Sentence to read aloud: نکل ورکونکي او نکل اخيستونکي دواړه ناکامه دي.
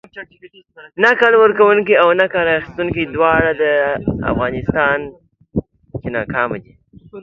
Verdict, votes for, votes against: rejected, 0, 2